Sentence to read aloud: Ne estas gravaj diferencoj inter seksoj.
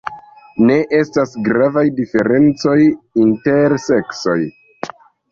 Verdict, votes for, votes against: accepted, 2, 1